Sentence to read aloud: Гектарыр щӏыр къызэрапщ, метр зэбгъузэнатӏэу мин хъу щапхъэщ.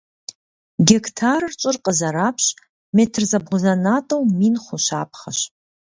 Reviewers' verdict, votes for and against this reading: accepted, 3, 0